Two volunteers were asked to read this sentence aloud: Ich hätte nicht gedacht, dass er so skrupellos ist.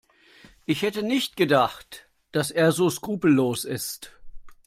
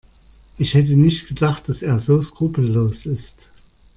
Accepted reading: first